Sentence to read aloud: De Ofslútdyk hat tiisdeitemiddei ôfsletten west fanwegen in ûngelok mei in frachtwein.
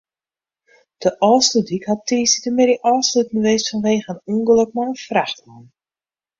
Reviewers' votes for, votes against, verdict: 0, 2, rejected